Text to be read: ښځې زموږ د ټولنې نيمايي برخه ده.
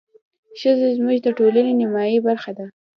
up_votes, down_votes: 2, 0